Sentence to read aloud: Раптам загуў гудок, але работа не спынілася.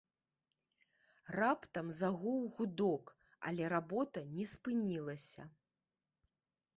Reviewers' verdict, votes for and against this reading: accepted, 3, 0